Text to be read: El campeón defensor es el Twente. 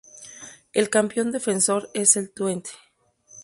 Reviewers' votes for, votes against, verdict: 4, 0, accepted